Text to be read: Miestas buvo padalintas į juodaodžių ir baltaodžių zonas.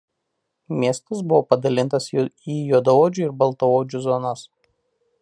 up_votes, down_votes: 0, 2